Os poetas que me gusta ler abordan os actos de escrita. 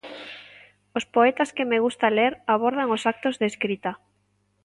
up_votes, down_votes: 2, 0